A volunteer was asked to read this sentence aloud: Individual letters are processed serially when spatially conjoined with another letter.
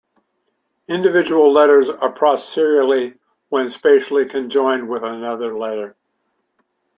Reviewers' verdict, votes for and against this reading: accepted, 2, 1